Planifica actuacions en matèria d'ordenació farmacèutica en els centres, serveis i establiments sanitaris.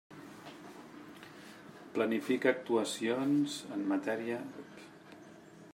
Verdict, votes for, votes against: rejected, 0, 2